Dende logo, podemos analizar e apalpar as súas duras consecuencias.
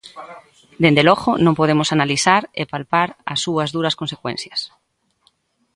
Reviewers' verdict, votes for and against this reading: rejected, 1, 2